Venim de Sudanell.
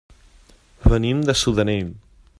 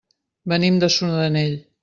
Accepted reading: first